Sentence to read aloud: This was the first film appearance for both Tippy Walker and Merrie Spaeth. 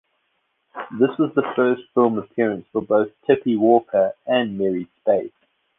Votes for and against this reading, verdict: 2, 0, accepted